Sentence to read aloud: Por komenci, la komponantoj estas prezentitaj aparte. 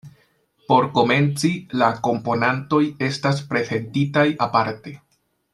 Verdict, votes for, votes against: accepted, 2, 1